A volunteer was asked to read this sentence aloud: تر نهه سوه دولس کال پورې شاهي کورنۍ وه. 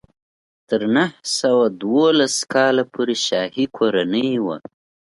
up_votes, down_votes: 2, 0